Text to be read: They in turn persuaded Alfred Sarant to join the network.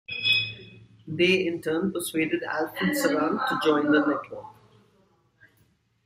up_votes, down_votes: 2, 1